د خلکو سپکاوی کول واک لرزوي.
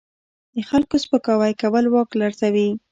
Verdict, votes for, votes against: rejected, 1, 2